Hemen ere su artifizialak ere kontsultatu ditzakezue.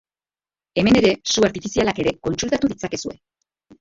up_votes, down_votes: 0, 3